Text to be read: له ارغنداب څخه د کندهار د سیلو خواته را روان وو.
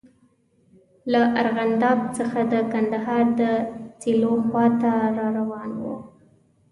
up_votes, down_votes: 2, 0